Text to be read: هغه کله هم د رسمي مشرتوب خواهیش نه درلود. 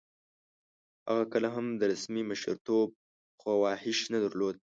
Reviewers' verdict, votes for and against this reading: accepted, 2, 0